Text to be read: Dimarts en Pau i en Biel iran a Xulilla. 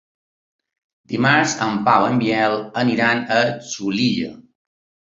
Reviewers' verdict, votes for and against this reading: accepted, 3, 2